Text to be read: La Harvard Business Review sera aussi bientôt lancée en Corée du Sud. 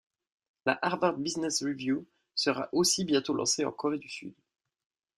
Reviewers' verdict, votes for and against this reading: accepted, 2, 0